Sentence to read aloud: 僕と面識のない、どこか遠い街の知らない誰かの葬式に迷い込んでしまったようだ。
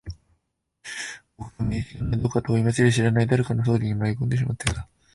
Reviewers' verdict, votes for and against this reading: rejected, 0, 2